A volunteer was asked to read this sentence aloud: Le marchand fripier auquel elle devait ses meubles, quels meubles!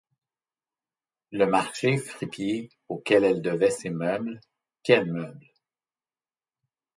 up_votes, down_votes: 0, 2